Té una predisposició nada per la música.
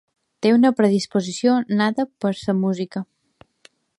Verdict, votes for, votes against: rejected, 1, 2